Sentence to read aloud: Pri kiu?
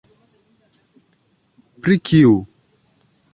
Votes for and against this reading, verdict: 2, 1, accepted